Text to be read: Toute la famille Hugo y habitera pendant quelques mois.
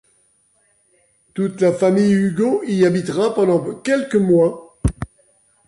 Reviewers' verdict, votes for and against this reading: accepted, 2, 1